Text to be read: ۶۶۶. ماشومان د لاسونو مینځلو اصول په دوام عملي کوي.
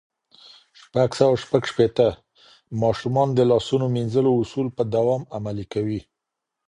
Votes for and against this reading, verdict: 0, 2, rejected